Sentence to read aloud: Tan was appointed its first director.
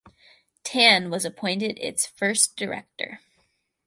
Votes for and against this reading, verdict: 2, 2, rejected